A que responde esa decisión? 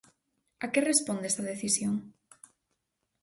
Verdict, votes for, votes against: rejected, 2, 4